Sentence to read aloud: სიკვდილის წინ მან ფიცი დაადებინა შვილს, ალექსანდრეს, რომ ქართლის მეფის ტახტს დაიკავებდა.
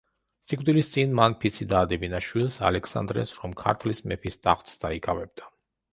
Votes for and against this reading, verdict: 2, 0, accepted